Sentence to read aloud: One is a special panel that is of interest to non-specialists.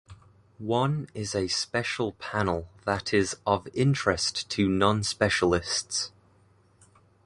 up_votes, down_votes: 2, 0